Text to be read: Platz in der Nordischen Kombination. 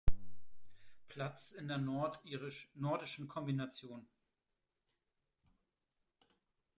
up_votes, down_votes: 1, 2